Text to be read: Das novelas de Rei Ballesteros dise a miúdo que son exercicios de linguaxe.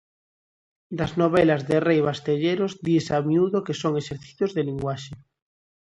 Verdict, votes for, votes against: rejected, 0, 2